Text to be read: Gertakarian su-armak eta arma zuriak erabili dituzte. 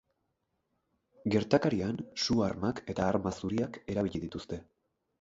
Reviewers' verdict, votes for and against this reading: accepted, 4, 2